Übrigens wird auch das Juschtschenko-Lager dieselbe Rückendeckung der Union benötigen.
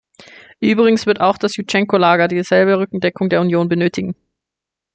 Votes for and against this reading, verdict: 1, 2, rejected